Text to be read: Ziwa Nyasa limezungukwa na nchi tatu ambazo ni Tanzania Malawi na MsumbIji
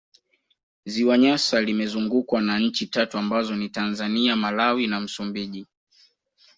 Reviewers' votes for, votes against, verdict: 2, 0, accepted